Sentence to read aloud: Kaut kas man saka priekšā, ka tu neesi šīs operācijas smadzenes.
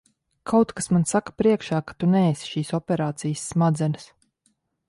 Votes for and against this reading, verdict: 2, 0, accepted